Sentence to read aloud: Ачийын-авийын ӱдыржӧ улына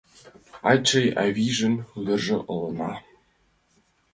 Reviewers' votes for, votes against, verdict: 0, 2, rejected